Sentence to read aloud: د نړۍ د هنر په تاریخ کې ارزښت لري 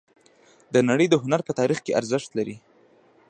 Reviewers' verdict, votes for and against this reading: rejected, 1, 2